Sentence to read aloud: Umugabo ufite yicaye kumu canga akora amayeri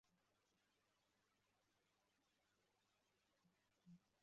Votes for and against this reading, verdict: 0, 2, rejected